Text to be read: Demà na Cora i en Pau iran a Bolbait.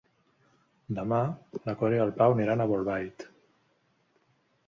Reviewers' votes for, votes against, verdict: 2, 3, rejected